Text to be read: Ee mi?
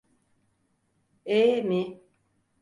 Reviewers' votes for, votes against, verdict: 4, 0, accepted